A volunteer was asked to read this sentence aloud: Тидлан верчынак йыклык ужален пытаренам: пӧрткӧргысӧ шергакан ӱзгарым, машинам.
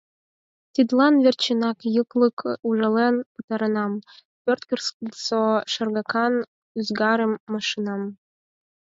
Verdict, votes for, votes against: rejected, 2, 4